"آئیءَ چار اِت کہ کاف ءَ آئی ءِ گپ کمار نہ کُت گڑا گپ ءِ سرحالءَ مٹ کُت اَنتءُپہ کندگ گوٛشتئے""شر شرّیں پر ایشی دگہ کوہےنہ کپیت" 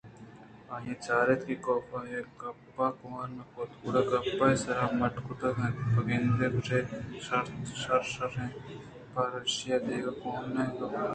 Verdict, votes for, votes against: accepted, 2, 0